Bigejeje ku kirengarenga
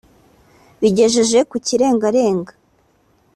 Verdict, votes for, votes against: accepted, 2, 0